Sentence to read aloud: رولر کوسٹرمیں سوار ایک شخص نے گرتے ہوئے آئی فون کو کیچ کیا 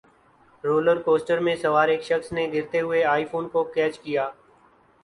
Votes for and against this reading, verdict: 1, 2, rejected